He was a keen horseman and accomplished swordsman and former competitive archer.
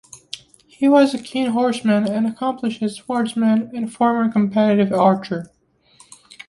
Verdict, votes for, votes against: accepted, 2, 0